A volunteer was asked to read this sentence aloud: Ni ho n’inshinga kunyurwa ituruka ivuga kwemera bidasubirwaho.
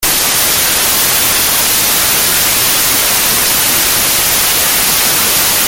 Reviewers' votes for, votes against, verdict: 0, 2, rejected